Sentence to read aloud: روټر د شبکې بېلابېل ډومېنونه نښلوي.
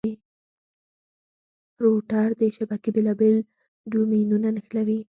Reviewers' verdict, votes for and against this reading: rejected, 2, 4